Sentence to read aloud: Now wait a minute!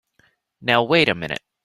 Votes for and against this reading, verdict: 3, 0, accepted